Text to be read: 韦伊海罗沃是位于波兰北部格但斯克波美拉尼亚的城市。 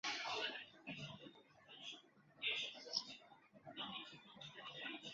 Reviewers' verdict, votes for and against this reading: rejected, 3, 6